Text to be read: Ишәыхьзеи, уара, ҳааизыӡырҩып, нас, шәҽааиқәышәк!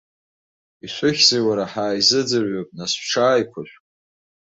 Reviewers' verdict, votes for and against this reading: accepted, 2, 0